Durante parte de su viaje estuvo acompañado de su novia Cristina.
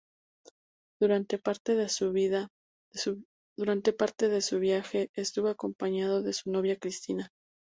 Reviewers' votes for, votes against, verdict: 0, 2, rejected